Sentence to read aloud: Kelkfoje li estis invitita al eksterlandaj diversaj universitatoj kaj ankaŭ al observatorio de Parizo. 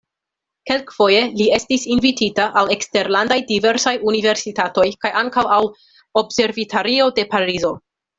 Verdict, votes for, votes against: rejected, 1, 2